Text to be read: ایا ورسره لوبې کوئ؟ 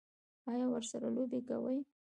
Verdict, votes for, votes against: rejected, 1, 2